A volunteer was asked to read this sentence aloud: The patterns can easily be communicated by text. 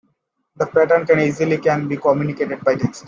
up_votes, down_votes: 2, 0